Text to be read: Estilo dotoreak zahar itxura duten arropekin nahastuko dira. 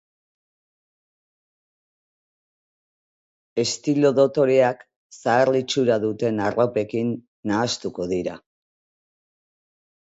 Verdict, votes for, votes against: rejected, 4, 6